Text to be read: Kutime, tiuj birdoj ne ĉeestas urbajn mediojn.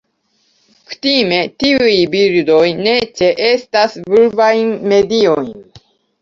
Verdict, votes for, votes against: rejected, 1, 2